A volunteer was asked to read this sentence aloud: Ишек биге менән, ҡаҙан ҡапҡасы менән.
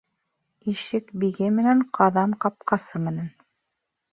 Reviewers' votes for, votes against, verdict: 1, 2, rejected